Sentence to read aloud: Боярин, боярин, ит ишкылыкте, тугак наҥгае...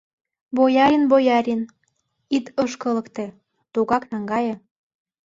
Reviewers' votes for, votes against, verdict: 2, 3, rejected